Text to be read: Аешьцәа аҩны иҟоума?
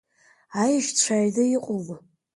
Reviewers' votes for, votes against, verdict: 2, 1, accepted